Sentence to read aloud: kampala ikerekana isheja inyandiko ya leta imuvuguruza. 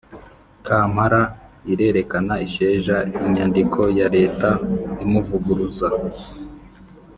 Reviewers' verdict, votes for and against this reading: rejected, 1, 2